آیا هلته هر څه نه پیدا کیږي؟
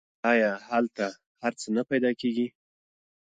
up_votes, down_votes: 2, 1